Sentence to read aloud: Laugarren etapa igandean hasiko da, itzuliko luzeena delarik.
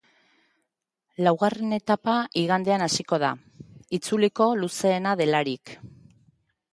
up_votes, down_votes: 3, 0